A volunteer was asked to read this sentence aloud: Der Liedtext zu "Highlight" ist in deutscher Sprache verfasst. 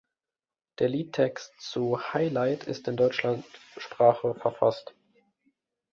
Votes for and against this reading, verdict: 0, 2, rejected